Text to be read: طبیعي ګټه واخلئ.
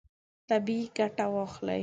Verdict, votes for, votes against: accepted, 2, 0